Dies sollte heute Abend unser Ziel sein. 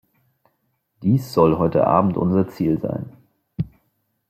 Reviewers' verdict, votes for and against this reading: rejected, 0, 2